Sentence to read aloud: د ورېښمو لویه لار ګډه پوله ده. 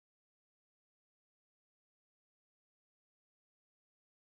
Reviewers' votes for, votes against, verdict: 1, 2, rejected